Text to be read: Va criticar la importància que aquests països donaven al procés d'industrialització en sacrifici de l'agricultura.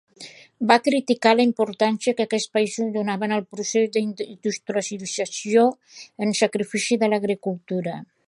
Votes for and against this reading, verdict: 0, 2, rejected